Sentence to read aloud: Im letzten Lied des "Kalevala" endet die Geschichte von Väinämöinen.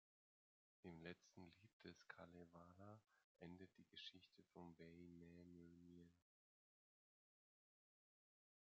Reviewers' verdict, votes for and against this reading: rejected, 0, 2